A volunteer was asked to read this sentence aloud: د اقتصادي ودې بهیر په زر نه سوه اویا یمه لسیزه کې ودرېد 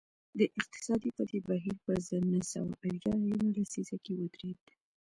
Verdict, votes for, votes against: rejected, 1, 2